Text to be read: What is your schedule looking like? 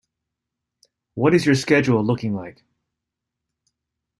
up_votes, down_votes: 2, 0